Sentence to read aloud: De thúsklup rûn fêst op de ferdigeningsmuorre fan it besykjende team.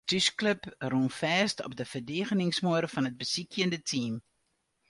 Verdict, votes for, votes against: rejected, 0, 2